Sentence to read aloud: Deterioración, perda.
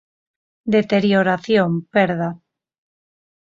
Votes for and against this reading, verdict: 4, 0, accepted